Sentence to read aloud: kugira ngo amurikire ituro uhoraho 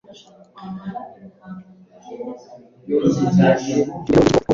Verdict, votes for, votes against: accepted, 2, 0